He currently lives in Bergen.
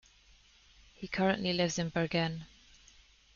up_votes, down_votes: 2, 1